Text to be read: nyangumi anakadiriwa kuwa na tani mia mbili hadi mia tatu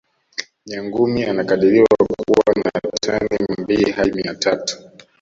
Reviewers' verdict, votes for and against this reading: rejected, 0, 2